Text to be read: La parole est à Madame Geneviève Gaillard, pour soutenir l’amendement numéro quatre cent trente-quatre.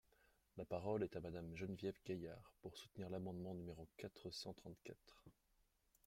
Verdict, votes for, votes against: rejected, 1, 2